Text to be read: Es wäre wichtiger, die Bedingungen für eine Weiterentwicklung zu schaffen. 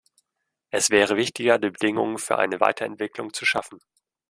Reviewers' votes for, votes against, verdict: 2, 0, accepted